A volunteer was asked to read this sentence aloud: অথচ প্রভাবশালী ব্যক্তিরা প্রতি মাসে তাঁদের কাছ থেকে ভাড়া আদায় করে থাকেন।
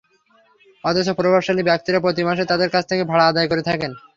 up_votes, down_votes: 3, 0